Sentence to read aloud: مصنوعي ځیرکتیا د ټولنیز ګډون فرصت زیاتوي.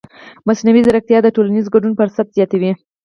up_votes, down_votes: 4, 0